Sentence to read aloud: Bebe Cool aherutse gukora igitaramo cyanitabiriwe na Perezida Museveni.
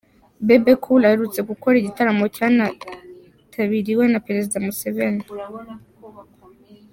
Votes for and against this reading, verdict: 2, 1, accepted